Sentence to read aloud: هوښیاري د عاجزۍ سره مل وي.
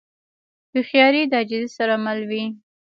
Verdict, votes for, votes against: accepted, 2, 0